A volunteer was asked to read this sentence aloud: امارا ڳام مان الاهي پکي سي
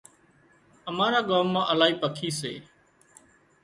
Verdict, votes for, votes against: rejected, 0, 2